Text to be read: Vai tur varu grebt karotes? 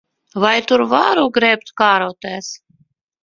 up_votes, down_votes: 2, 3